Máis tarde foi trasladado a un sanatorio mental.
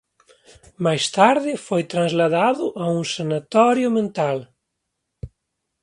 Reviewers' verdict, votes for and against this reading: accepted, 2, 0